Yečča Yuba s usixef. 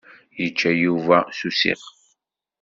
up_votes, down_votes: 2, 0